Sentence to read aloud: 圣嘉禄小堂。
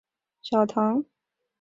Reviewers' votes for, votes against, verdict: 2, 0, accepted